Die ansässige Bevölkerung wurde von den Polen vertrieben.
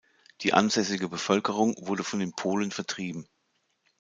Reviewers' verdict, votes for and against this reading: accepted, 2, 0